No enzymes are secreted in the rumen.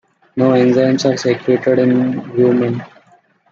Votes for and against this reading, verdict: 0, 2, rejected